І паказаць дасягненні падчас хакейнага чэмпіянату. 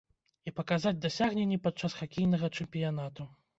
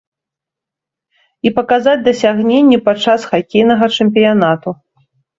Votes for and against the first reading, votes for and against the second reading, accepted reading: 1, 2, 2, 0, second